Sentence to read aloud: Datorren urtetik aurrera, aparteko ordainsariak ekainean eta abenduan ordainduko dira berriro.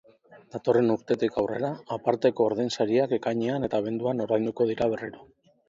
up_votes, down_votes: 0, 2